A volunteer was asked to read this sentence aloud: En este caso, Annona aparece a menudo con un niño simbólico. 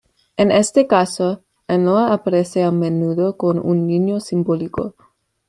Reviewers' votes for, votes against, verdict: 2, 0, accepted